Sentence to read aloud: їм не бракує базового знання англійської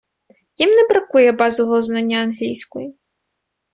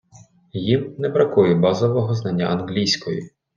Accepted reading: first